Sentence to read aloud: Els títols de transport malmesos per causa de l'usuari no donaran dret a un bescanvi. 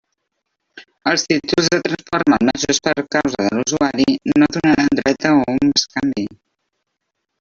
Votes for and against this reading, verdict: 1, 2, rejected